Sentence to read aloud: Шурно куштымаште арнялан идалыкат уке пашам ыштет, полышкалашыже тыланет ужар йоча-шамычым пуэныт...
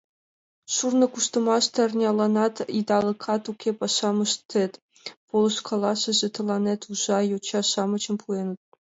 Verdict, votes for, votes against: rejected, 1, 2